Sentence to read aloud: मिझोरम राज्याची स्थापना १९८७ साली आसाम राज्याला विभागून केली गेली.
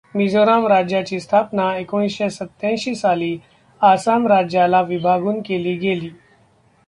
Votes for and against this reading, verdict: 0, 2, rejected